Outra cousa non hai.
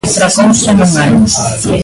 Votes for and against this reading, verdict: 0, 2, rejected